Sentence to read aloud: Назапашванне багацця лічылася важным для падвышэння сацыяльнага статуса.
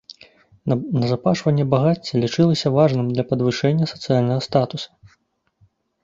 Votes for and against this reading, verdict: 0, 2, rejected